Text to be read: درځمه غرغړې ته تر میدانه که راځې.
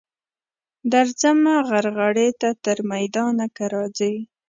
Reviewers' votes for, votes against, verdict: 3, 0, accepted